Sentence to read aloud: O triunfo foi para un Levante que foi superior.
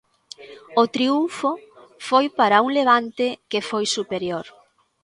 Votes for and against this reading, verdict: 2, 0, accepted